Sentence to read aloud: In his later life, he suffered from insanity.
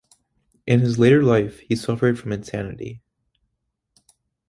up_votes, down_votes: 2, 0